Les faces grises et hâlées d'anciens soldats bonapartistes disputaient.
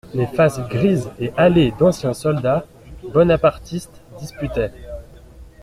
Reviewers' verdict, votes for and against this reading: rejected, 1, 2